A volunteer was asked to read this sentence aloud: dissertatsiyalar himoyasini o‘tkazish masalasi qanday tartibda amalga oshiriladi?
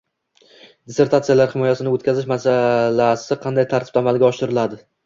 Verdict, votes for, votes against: rejected, 0, 2